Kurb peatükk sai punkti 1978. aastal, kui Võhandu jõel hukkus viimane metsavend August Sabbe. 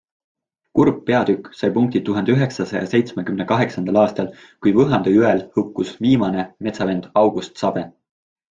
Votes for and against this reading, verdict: 0, 2, rejected